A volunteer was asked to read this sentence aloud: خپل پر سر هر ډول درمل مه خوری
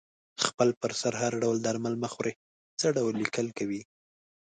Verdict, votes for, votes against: rejected, 0, 2